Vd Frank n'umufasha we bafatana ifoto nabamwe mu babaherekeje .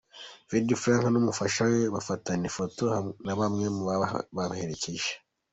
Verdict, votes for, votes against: rejected, 1, 4